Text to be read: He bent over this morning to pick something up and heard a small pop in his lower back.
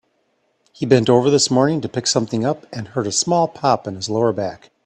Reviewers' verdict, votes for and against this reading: accepted, 2, 0